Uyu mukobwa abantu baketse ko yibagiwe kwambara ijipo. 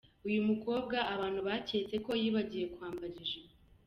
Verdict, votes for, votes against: accepted, 3, 0